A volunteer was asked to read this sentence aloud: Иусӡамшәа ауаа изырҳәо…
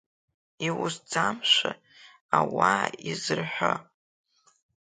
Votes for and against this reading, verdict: 2, 1, accepted